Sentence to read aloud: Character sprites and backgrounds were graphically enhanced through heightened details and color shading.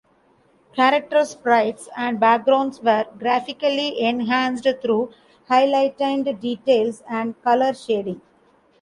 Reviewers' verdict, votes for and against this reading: rejected, 0, 2